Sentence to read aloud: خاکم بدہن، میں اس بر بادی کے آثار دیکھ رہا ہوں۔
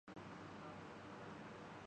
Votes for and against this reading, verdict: 0, 3, rejected